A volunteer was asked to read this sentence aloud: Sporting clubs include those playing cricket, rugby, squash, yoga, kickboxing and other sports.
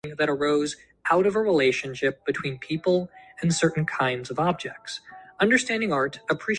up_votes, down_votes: 0, 2